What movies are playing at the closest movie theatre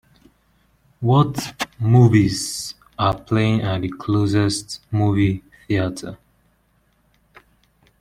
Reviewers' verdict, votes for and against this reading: rejected, 1, 2